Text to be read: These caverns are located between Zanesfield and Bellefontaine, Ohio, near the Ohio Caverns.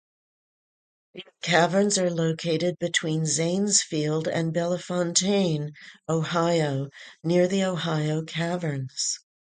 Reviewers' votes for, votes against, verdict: 0, 4, rejected